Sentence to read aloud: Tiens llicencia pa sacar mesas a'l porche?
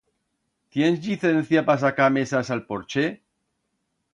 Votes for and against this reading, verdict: 2, 0, accepted